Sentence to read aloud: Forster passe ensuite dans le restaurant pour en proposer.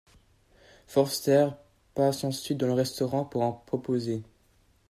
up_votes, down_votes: 2, 0